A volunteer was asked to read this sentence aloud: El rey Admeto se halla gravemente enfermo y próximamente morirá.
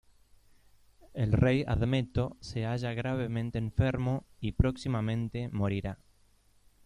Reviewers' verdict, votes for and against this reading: accepted, 2, 0